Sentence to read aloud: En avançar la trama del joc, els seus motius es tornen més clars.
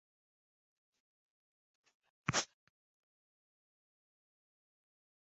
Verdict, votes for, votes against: rejected, 0, 2